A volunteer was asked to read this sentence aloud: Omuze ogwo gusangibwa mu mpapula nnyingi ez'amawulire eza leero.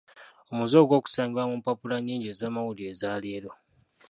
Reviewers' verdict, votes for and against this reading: rejected, 0, 2